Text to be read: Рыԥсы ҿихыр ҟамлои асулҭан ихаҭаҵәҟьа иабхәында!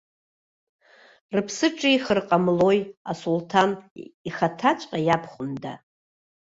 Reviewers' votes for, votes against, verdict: 1, 2, rejected